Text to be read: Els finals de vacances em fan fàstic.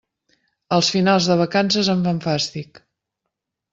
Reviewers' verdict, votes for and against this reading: rejected, 1, 2